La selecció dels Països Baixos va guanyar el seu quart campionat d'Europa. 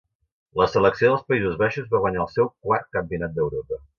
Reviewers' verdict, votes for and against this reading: accepted, 2, 0